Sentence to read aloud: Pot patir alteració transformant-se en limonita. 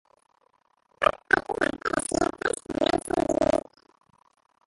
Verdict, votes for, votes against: rejected, 0, 3